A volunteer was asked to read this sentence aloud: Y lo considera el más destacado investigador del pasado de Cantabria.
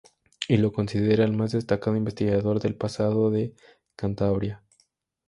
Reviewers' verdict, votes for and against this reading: accepted, 2, 0